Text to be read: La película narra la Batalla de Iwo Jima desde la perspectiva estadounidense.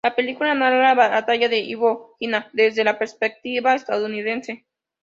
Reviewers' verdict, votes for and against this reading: rejected, 0, 2